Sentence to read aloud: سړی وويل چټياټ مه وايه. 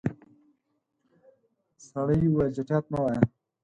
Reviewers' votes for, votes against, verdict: 0, 4, rejected